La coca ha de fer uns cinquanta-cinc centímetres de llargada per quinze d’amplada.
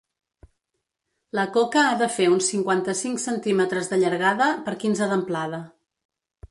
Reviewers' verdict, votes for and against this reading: accepted, 2, 0